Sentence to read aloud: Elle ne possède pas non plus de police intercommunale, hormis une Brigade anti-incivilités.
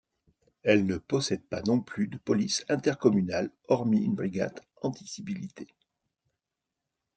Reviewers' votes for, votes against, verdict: 0, 2, rejected